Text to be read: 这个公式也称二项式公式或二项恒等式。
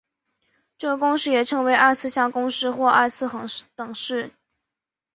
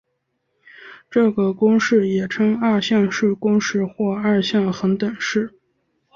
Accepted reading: second